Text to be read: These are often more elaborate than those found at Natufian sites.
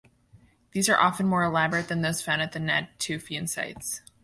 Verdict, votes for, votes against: accepted, 2, 1